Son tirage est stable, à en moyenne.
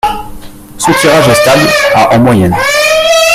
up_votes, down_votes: 1, 2